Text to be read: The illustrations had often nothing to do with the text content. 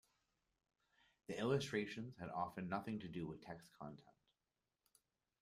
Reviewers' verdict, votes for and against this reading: rejected, 1, 2